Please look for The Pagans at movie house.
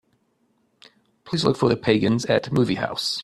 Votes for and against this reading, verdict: 2, 0, accepted